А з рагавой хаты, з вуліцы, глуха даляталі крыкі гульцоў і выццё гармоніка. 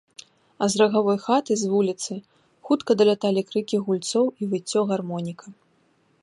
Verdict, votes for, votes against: rejected, 0, 2